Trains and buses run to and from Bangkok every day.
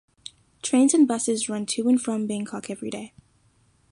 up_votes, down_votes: 2, 0